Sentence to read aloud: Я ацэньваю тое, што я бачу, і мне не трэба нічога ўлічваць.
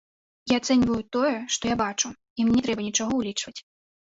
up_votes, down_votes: 3, 2